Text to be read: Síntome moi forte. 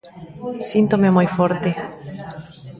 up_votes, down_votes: 1, 2